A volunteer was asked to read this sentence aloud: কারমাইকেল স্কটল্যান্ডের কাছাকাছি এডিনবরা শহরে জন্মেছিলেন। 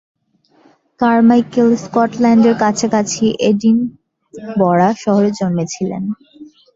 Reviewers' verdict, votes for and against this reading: accepted, 4, 2